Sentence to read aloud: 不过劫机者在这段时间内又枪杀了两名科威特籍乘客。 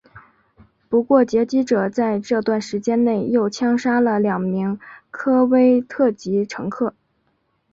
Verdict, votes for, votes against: accepted, 4, 0